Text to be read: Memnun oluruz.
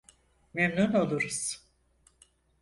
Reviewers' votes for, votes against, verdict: 4, 0, accepted